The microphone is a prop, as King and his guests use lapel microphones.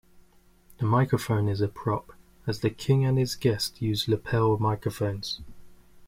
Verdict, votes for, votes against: rejected, 1, 2